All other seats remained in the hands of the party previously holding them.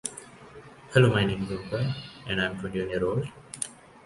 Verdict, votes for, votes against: rejected, 0, 2